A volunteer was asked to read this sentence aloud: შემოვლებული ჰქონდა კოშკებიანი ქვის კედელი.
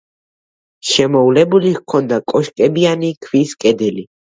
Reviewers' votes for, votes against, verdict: 2, 0, accepted